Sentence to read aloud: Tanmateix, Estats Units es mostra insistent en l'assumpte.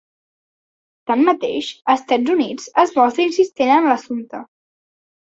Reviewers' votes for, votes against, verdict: 2, 0, accepted